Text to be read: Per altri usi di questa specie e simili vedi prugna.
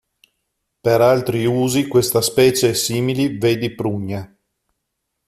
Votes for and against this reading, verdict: 0, 2, rejected